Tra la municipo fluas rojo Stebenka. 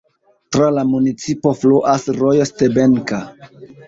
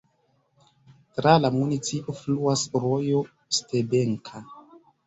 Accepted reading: first